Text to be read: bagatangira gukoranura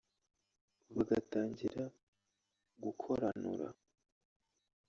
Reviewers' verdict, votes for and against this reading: rejected, 0, 2